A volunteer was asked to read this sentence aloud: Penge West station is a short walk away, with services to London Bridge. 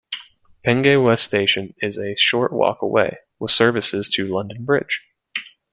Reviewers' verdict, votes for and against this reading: accepted, 2, 0